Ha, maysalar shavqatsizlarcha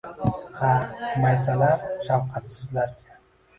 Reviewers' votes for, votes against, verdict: 1, 2, rejected